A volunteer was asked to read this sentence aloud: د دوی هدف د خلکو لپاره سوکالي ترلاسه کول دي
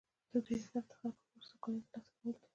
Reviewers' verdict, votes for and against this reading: rejected, 0, 2